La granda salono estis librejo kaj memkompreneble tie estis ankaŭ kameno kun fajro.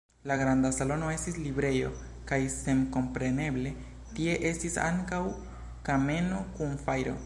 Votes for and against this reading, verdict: 1, 2, rejected